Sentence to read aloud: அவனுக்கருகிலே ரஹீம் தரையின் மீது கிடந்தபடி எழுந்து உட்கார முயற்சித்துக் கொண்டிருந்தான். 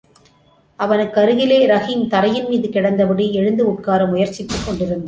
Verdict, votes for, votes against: rejected, 1, 2